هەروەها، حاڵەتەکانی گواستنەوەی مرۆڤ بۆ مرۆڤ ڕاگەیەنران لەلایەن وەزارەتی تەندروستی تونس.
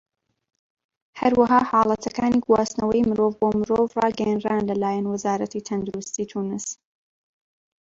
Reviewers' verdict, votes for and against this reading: accepted, 2, 1